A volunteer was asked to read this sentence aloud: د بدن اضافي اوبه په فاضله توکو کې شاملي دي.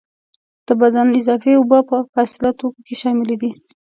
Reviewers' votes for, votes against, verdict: 2, 0, accepted